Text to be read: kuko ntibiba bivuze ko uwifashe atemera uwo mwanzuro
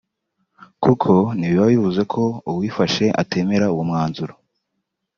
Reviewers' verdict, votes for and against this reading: accepted, 2, 0